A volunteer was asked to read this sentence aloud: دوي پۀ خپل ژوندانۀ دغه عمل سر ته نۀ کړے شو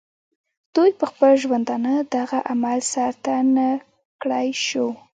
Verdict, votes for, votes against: rejected, 1, 2